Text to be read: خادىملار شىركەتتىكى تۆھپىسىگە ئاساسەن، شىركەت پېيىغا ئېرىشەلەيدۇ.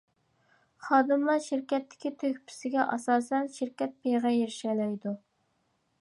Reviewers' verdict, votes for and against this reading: accepted, 2, 0